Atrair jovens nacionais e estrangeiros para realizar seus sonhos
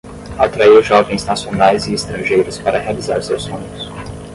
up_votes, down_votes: 5, 5